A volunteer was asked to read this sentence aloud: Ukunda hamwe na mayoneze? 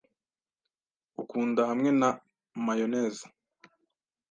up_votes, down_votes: 2, 0